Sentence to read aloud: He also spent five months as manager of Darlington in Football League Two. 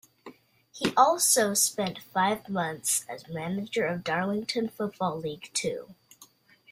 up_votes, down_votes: 1, 2